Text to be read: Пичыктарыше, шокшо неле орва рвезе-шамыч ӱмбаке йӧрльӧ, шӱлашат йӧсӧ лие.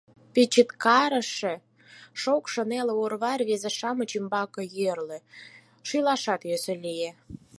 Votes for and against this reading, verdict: 4, 0, accepted